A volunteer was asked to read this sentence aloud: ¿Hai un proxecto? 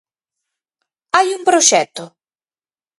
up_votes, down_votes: 4, 0